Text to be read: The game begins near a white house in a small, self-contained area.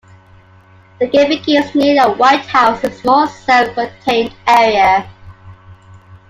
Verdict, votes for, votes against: accepted, 2, 0